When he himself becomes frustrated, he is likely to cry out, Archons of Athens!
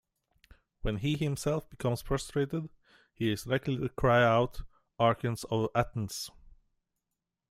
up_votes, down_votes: 2, 0